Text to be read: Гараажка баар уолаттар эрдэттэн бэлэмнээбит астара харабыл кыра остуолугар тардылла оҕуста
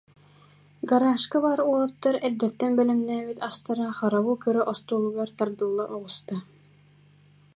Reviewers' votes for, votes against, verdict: 2, 0, accepted